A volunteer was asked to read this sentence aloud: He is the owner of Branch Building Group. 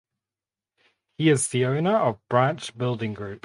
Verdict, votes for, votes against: accepted, 2, 0